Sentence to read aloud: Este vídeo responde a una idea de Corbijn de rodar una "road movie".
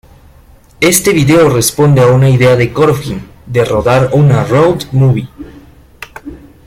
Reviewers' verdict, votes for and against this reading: rejected, 1, 2